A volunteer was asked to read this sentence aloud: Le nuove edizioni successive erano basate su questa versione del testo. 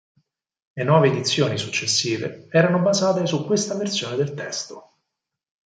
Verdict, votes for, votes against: accepted, 4, 0